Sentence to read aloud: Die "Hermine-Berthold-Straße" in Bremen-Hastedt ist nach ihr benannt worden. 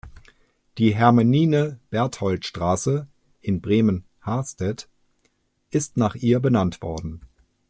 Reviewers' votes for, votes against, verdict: 0, 2, rejected